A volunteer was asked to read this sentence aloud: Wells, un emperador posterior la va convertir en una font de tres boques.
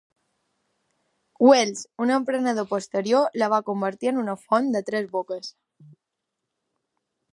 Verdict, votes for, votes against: rejected, 0, 2